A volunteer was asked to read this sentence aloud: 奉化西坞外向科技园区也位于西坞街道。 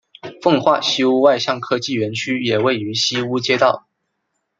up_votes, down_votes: 2, 0